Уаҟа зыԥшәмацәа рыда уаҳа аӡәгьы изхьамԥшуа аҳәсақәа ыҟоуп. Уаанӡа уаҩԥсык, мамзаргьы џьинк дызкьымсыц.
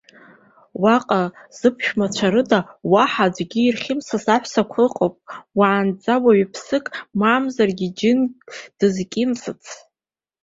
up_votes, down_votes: 0, 2